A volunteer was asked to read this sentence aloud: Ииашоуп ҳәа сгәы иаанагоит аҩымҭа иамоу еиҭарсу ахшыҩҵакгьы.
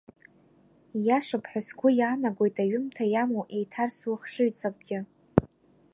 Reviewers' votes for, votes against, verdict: 2, 0, accepted